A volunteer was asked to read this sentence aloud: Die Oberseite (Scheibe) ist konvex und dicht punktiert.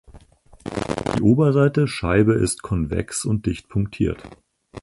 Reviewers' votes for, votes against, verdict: 2, 4, rejected